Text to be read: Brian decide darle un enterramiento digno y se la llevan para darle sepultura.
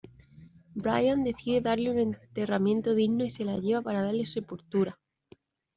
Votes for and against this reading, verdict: 1, 2, rejected